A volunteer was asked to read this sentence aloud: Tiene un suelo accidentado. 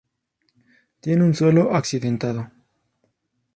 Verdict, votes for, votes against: accepted, 2, 0